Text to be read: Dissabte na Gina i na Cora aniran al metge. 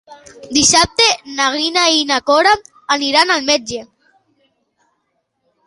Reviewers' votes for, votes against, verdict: 2, 3, rejected